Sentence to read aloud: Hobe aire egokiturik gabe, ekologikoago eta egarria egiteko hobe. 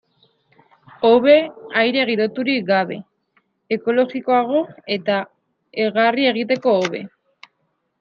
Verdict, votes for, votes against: rejected, 1, 2